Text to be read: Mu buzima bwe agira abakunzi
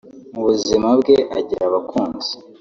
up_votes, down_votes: 0, 2